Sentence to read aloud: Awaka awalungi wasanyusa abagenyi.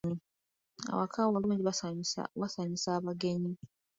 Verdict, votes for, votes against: rejected, 1, 2